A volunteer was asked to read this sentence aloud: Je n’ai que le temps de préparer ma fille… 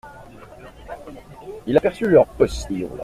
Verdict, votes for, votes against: rejected, 0, 2